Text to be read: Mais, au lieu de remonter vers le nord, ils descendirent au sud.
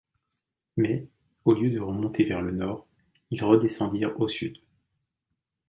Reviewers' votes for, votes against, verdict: 0, 2, rejected